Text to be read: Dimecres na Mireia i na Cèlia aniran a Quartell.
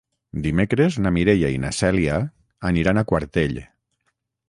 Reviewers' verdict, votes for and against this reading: accepted, 6, 0